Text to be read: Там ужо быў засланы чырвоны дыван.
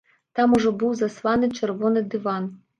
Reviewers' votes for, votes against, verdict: 2, 0, accepted